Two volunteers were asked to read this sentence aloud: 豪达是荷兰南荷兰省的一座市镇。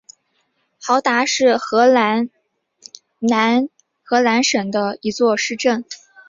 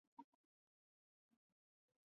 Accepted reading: first